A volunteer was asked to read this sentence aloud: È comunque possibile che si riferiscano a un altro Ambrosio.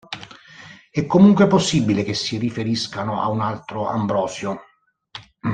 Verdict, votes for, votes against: accepted, 2, 0